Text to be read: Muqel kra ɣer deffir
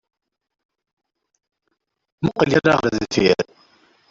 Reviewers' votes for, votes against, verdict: 0, 2, rejected